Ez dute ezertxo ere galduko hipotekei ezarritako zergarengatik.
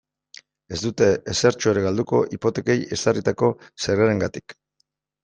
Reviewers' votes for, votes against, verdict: 3, 0, accepted